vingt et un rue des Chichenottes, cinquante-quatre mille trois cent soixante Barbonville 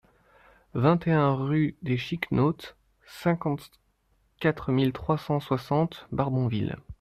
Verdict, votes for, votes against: rejected, 1, 2